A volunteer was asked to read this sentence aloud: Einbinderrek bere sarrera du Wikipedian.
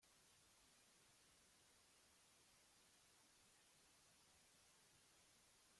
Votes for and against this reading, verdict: 0, 2, rejected